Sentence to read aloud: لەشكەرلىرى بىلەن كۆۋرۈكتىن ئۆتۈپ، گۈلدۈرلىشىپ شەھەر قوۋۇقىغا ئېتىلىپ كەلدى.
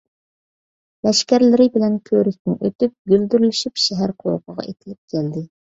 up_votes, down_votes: 2, 0